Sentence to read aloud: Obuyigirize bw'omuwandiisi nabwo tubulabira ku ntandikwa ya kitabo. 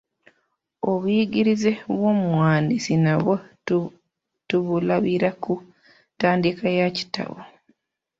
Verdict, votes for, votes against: rejected, 0, 2